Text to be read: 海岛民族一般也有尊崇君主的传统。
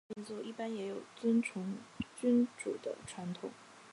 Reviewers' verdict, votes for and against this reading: rejected, 0, 2